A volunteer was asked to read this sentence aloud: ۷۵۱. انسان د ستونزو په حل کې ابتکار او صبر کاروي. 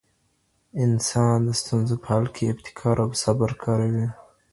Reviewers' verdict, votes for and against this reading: rejected, 0, 2